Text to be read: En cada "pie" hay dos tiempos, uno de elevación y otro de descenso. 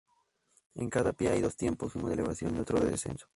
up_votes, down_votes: 0, 2